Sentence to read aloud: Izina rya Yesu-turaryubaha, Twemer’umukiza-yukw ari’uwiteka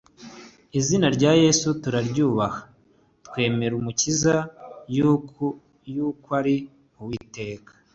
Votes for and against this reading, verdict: 3, 1, accepted